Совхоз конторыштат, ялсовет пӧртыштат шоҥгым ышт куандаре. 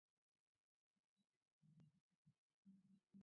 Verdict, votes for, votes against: rejected, 1, 2